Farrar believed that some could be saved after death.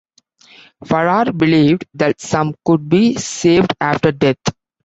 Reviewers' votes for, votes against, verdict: 2, 0, accepted